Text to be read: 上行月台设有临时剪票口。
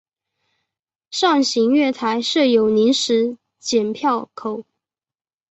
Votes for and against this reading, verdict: 2, 0, accepted